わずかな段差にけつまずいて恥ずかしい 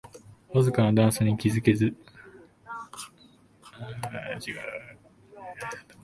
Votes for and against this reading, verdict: 0, 2, rejected